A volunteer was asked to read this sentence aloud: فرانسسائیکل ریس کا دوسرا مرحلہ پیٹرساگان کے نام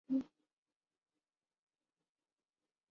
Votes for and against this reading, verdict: 0, 2, rejected